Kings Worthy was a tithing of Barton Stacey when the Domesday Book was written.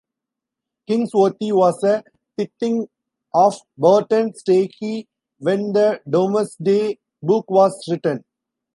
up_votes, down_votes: 2, 0